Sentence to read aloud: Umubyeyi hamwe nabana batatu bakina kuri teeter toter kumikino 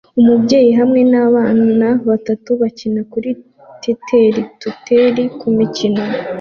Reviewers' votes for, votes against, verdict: 0, 2, rejected